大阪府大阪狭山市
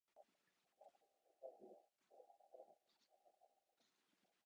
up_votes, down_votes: 0, 2